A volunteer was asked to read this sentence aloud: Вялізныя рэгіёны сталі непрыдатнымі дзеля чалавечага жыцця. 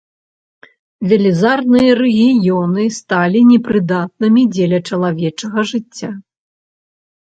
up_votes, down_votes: 0, 2